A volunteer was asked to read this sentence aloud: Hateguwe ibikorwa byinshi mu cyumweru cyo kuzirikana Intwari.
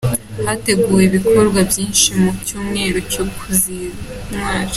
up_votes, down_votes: 0, 2